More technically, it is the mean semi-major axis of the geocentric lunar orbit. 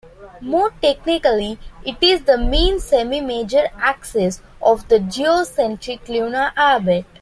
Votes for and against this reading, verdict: 2, 0, accepted